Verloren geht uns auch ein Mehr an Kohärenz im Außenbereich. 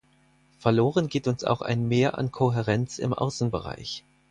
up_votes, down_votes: 4, 0